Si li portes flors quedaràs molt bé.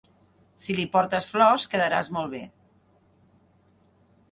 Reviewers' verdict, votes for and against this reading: accepted, 4, 0